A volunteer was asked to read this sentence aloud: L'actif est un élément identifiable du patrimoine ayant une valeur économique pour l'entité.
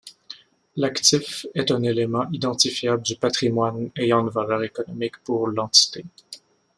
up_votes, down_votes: 2, 0